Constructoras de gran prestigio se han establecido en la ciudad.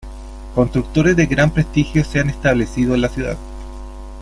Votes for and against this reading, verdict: 2, 1, accepted